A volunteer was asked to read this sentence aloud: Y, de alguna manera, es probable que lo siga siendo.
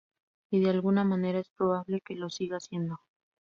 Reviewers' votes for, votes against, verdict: 2, 0, accepted